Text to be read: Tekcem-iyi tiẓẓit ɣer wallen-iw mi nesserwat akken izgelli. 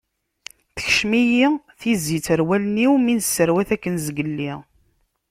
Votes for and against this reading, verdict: 0, 2, rejected